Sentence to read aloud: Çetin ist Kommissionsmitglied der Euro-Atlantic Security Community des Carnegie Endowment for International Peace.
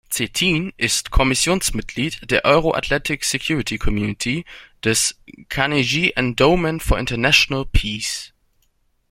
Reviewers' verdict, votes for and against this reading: rejected, 1, 2